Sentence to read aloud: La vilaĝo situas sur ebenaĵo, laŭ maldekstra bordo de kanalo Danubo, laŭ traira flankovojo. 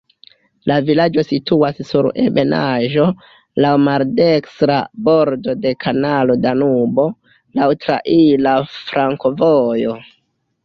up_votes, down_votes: 0, 2